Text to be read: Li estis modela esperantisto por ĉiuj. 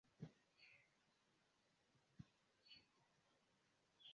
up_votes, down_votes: 1, 2